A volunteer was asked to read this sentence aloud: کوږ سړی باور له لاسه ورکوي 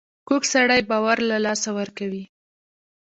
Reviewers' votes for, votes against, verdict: 2, 0, accepted